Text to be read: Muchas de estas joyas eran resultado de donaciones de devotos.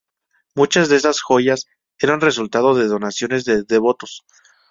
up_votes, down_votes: 0, 2